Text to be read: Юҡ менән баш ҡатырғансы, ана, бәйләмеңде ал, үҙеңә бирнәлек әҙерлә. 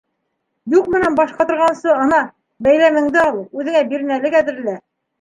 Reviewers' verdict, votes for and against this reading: accepted, 2, 0